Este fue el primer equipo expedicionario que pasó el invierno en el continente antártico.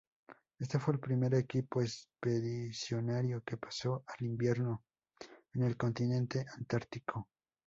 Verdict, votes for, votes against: rejected, 0, 2